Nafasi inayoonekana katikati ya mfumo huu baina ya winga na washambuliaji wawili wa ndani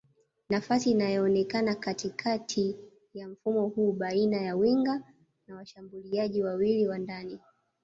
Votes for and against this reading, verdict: 2, 0, accepted